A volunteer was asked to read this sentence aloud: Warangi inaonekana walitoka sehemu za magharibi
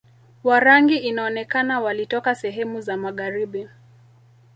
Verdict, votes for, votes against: accepted, 2, 0